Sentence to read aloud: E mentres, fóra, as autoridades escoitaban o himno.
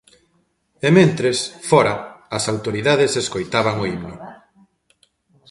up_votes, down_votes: 0, 2